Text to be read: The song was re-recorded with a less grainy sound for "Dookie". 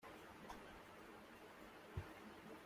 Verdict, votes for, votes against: rejected, 0, 2